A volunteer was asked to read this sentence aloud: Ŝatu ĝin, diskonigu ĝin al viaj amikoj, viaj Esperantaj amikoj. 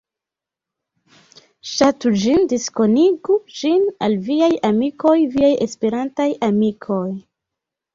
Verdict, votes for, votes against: accepted, 2, 0